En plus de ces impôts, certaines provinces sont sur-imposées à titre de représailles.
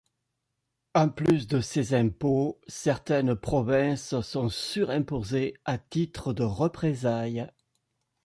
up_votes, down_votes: 2, 0